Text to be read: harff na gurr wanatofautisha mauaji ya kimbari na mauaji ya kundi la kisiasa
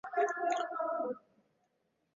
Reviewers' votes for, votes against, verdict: 0, 2, rejected